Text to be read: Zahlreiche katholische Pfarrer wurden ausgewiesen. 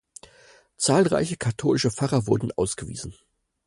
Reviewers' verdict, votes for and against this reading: accepted, 4, 0